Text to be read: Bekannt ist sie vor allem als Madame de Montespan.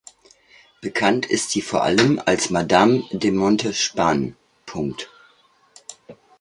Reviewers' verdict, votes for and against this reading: rejected, 1, 3